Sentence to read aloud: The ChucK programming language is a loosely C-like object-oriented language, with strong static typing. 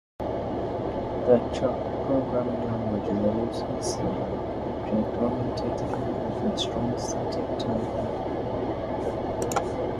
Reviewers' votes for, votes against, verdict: 1, 2, rejected